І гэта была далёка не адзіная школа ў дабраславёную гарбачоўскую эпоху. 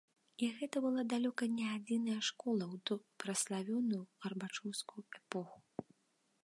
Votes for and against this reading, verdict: 0, 2, rejected